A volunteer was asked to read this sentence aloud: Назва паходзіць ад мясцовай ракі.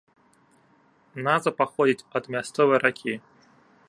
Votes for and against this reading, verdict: 3, 0, accepted